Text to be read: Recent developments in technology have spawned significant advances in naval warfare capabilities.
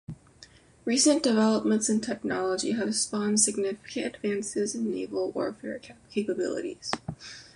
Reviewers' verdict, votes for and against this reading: accepted, 2, 0